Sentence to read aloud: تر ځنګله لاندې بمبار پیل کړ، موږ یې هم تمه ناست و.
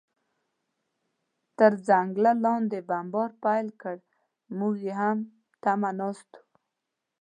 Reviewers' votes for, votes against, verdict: 2, 0, accepted